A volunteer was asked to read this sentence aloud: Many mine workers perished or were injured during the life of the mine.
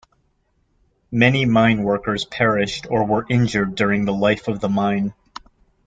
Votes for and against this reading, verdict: 2, 0, accepted